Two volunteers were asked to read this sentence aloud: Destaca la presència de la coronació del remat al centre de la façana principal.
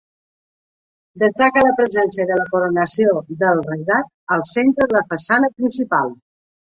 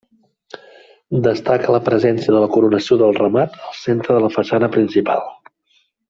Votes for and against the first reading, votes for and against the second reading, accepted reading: 1, 2, 2, 0, second